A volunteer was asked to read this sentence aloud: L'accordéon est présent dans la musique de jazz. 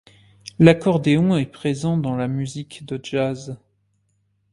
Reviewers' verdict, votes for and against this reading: accepted, 2, 0